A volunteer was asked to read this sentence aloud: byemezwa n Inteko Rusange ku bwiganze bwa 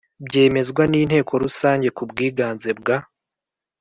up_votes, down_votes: 2, 0